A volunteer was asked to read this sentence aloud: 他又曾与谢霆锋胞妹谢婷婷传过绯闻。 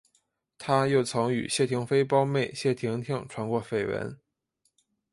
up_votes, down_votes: 2, 0